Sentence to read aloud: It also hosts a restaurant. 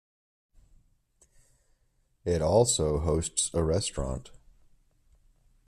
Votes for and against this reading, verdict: 2, 0, accepted